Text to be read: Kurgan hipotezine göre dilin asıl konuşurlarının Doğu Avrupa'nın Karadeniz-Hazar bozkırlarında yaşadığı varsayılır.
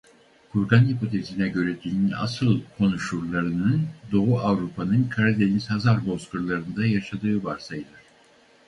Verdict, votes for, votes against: accepted, 4, 0